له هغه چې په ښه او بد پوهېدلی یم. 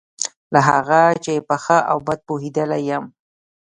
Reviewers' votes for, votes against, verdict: 2, 0, accepted